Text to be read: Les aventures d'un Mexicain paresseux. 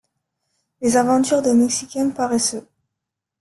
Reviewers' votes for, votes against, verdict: 2, 0, accepted